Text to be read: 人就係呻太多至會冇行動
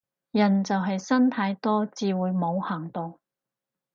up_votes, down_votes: 2, 0